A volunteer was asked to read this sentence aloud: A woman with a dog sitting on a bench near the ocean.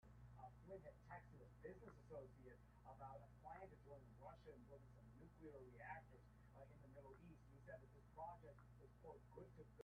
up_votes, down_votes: 0, 2